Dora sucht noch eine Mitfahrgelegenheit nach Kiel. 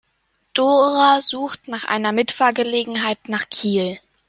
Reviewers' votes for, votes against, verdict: 1, 2, rejected